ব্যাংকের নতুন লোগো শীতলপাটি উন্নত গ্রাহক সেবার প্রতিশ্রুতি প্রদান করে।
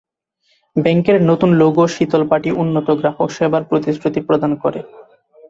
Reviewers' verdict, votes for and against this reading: accepted, 2, 0